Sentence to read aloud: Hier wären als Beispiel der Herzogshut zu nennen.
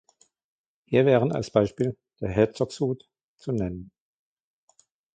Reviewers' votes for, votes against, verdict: 1, 2, rejected